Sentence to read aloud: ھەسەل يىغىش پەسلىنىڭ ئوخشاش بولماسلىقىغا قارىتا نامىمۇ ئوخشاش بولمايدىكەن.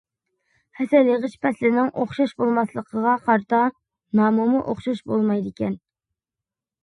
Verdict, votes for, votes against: accepted, 2, 0